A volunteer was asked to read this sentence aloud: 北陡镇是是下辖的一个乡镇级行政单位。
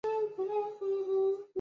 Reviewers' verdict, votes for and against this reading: rejected, 0, 2